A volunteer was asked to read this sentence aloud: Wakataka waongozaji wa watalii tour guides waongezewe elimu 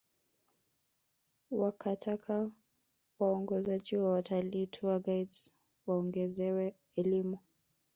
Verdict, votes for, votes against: accepted, 4, 0